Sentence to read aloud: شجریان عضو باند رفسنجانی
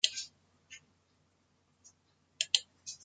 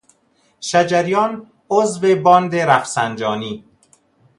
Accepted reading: second